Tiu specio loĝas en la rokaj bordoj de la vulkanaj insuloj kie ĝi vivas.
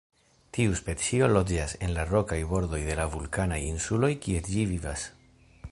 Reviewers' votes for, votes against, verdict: 2, 1, accepted